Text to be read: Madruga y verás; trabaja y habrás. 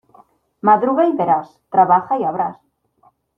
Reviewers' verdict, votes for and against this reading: accepted, 2, 1